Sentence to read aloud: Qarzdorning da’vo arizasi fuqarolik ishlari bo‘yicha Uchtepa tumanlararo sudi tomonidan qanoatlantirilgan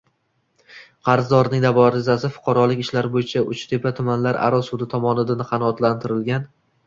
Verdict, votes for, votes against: rejected, 0, 2